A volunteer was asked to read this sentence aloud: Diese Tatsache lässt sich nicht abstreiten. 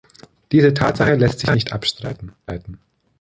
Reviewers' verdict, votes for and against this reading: rejected, 0, 2